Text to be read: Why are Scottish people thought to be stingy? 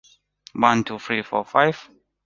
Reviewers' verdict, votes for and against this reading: rejected, 0, 2